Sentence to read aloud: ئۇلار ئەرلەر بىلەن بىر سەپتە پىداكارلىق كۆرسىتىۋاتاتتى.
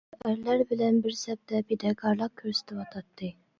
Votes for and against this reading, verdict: 1, 2, rejected